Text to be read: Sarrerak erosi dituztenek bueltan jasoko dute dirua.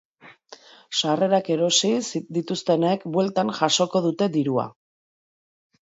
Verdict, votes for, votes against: rejected, 1, 2